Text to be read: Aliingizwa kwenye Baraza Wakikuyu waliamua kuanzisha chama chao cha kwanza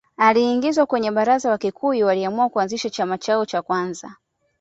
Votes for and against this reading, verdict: 2, 0, accepted